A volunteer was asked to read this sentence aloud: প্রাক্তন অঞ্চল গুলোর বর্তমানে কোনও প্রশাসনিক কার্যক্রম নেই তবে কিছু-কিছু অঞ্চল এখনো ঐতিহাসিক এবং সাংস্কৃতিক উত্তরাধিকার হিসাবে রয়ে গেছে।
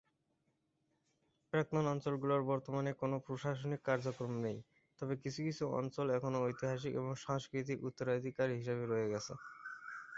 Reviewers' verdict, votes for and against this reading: accepted, 7, 5